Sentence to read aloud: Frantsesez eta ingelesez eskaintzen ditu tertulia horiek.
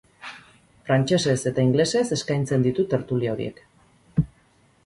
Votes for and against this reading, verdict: 2, 2, rejected